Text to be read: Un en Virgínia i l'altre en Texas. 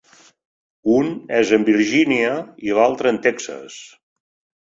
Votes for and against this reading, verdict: 0, 2, rejected